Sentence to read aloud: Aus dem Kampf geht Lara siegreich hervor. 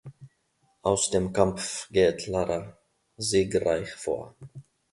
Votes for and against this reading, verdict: 1, 2, rejected